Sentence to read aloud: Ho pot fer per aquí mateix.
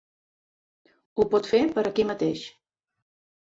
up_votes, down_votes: 3, 0